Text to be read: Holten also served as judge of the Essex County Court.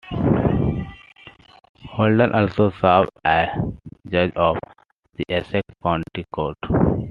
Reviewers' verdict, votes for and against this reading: accepted, 2, 1